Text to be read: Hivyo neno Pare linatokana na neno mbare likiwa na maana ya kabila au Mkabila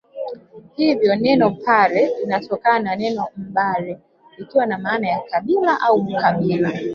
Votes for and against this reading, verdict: 1, 2, rejected